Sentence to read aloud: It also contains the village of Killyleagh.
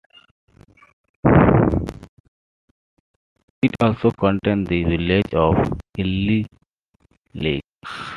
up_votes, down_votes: 2, 0